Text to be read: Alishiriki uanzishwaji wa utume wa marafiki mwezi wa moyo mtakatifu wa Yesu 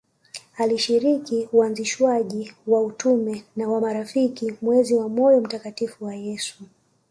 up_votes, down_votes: 2, 0